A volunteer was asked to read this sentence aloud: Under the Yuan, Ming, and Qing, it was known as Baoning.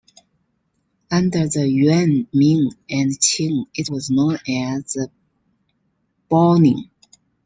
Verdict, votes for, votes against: accepted, 2, 0